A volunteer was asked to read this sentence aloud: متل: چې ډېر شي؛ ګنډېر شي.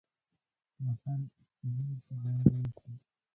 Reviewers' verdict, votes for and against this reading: rejected, 0, 2